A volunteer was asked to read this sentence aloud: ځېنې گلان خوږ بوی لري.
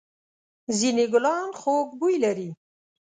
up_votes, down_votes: 2, 0